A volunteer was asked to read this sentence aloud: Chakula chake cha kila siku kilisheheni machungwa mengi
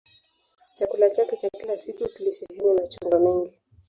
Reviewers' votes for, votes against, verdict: 2, 3, rejected